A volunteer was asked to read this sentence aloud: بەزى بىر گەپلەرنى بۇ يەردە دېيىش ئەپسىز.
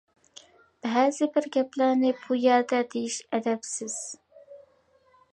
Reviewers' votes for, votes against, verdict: 0, 2, rejected